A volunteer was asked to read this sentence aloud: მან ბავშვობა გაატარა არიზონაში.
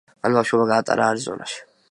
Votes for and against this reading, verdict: 2, 0, accepted